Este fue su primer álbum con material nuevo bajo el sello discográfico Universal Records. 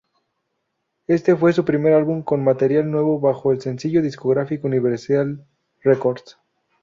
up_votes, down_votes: 0, 2